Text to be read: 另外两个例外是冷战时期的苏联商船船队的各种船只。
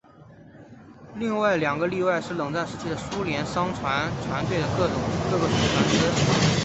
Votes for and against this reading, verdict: 2, 1, accepted